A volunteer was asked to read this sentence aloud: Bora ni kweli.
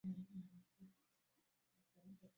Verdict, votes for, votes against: rejected, 0, 2